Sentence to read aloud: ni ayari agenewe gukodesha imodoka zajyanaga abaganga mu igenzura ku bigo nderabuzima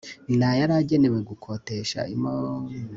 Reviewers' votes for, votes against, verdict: 0, 2, rejected